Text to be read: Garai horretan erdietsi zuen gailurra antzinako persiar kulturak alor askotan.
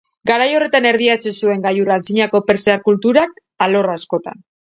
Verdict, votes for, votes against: accepted, 2, 0